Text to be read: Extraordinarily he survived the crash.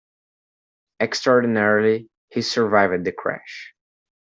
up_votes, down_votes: 2, 0